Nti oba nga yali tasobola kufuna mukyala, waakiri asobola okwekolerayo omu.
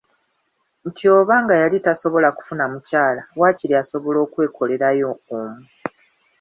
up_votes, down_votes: 2, 0